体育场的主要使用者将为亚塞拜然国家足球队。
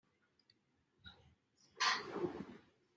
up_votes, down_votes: 0, 2